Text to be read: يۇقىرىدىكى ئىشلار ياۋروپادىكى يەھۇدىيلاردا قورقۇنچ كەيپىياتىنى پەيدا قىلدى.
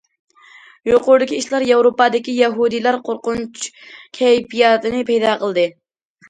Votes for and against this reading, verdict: 1, 2, rejected